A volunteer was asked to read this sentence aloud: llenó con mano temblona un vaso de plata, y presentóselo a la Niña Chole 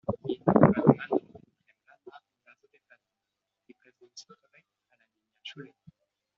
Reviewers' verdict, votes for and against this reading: rejected, 0, 2